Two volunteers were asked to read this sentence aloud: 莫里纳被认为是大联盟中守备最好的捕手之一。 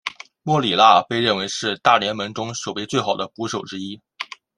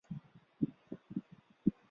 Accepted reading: first